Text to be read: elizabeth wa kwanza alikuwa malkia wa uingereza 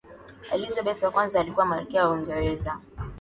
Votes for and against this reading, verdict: 2, 0, accepted